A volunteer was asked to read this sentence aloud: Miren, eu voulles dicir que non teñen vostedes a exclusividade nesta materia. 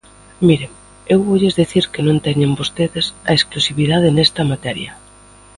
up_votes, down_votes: 2, 1